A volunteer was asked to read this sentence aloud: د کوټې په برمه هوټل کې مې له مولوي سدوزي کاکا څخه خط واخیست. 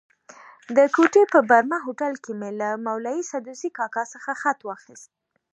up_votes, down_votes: 2, 1